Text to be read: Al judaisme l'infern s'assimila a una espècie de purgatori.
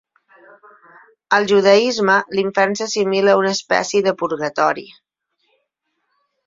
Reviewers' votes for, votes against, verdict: 6, 0, accepted